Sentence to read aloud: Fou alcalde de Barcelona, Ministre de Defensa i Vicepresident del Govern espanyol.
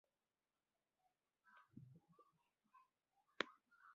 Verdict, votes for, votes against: rejected, 0, 2